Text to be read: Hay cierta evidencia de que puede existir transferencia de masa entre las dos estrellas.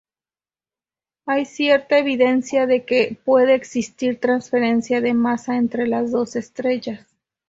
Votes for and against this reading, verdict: 2, 2, rejected